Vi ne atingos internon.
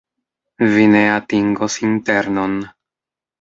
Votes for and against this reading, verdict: 2, 0, accepted